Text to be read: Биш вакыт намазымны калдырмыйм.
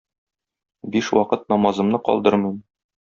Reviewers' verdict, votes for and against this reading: accepted, 2, 0